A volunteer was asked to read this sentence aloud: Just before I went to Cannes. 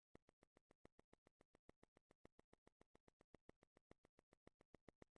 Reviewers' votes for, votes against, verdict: 0, 2, rejected